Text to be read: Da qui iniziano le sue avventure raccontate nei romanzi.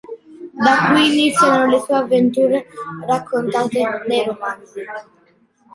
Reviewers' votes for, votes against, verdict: 2, 0, accepted